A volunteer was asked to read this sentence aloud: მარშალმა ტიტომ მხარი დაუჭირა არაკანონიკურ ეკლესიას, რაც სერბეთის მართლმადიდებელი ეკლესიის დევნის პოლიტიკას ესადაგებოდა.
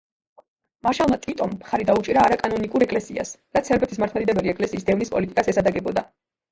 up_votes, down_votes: 1, 2